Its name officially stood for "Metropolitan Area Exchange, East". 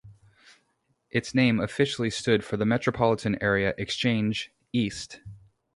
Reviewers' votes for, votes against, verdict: 2, 0, accepted